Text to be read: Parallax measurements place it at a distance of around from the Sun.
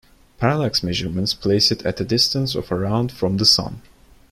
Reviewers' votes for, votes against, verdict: 2, 1, accepted